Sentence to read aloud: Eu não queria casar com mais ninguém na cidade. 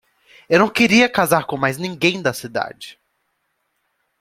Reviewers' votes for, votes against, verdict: 1, 2, rejected